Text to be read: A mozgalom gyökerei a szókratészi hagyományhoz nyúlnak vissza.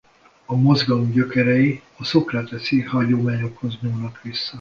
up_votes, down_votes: 1, 2